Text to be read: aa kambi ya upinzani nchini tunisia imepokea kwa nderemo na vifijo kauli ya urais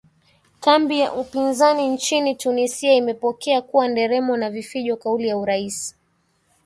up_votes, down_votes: 1, 3